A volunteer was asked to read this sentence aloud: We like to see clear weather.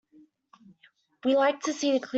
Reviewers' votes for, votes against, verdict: 0, 3, rejected